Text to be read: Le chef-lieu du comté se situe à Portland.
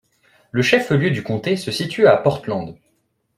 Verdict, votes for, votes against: accepted, 2, 0